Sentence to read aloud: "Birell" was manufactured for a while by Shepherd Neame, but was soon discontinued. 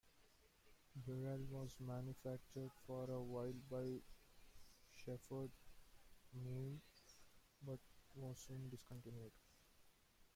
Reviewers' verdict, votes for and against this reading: rejected, 1, 2